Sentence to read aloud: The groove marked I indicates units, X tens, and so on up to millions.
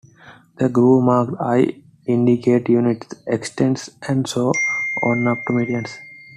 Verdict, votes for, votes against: accepted, 2, 0